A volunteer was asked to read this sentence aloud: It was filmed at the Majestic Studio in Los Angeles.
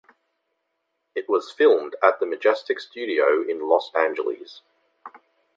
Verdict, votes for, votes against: accepted, 2, 1